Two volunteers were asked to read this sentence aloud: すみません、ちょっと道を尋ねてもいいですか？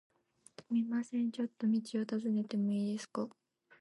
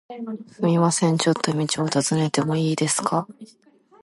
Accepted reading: second